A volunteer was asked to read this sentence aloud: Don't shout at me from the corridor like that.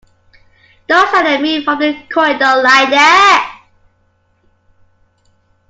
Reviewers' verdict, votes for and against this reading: rejected, 0, 2